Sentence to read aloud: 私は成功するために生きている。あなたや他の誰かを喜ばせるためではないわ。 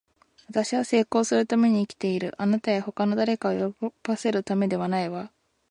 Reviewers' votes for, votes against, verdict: 0, 2, rejected